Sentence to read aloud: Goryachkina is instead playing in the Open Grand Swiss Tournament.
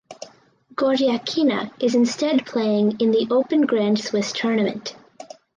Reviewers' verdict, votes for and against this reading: accepted, 4, 0